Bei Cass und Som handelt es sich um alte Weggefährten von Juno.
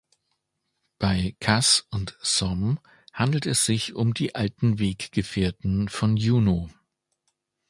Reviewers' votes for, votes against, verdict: 1, 3, rejected